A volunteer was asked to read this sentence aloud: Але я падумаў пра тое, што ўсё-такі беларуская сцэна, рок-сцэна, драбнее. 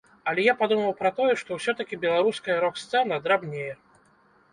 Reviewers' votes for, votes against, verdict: 0, 2, rejected